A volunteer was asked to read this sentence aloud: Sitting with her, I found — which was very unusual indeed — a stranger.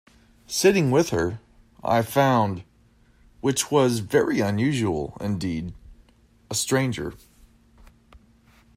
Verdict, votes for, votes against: accepted, 2, 0